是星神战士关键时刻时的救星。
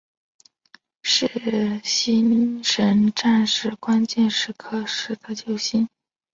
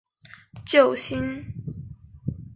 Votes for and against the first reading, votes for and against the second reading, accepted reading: 3, 0, 0, 2, first